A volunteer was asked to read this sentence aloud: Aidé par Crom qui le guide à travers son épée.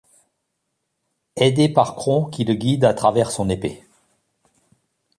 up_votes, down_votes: 1, 2